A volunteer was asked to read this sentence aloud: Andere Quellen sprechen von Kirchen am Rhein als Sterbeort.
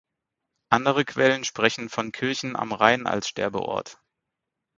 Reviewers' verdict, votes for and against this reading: accepted, 6, 0